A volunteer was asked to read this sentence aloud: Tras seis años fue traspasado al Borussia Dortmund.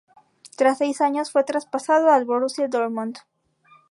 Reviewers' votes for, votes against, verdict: 2, 0, accepted